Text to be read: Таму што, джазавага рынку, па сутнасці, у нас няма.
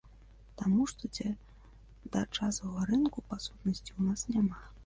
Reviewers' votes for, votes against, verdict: 1, 2, rejected